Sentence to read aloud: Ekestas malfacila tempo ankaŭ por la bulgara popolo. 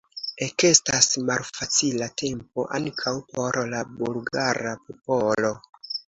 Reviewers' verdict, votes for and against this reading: accepted, 2, 0